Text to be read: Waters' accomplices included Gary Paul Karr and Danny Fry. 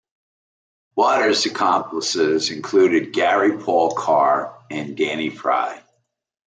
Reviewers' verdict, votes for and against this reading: accepted, 2, 0